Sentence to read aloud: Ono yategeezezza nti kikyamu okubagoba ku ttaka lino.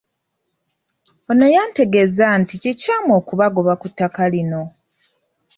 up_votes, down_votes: 0, 3